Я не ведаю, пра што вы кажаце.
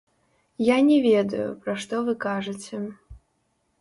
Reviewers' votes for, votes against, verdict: 1, 2, rejected